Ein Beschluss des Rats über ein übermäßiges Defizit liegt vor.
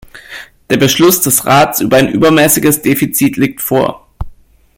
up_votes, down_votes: 1, 2